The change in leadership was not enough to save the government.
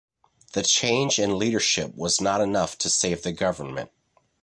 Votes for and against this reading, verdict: 2, 0, accepted